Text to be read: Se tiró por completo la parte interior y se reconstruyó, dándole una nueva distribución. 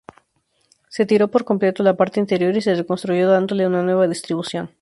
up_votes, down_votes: 0, 2